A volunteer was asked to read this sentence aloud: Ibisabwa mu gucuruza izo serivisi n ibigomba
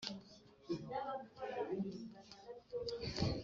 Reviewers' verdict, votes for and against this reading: rejected, 1, 2